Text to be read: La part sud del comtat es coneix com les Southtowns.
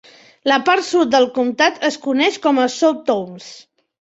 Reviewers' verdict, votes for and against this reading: rejected, 2, 3